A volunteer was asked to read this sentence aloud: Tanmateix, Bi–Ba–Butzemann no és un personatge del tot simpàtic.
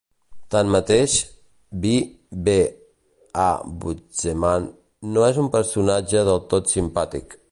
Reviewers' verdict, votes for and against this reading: rejected, 1, 2